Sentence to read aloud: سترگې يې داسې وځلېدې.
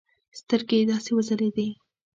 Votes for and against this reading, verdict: 2, 0, accepted